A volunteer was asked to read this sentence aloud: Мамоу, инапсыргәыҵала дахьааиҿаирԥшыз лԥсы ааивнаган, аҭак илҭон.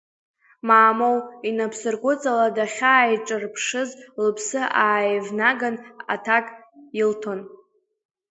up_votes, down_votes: 0, 2